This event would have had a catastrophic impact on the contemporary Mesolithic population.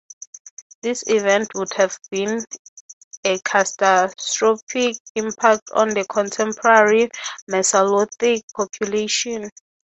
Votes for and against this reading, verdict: 3, 3, rejected